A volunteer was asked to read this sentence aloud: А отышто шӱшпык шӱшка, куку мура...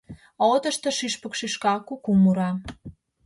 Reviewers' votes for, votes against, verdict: 2, 0, accepted